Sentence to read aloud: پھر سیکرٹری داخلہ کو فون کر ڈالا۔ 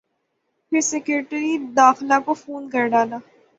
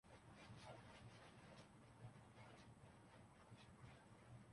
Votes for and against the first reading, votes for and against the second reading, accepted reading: 6, 0, 0, 2, first